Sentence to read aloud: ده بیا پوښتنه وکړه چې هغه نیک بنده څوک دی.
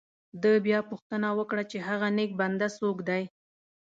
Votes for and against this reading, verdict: 2, 0, accepted